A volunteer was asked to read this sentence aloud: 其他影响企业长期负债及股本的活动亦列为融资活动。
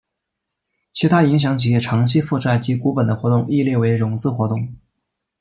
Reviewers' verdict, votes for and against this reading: accepted, 2, 0